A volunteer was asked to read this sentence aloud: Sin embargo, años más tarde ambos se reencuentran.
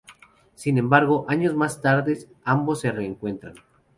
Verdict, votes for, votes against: rejected, 0, 2